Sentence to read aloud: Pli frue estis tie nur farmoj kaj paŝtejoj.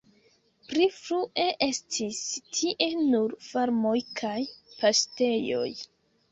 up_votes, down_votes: 2, 1